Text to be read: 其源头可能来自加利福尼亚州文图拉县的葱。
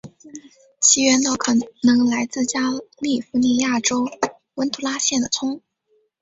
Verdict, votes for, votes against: accepted, 3, 2